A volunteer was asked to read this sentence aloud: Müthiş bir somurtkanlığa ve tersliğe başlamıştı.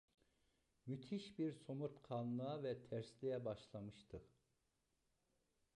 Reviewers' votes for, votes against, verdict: 0, 2, rejected